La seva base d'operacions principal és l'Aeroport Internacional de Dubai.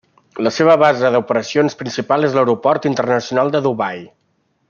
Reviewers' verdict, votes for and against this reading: accepted, 3, 0